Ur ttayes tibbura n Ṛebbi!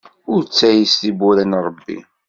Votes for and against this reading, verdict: 2, 0, accepted